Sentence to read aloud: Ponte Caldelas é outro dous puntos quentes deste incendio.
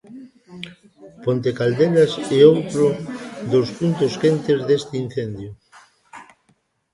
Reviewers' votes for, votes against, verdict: 1, 2, rejected